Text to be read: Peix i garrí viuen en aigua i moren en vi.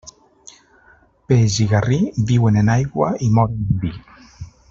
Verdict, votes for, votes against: rejected, 0, 2